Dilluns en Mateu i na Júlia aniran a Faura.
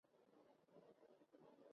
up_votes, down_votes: 0, 2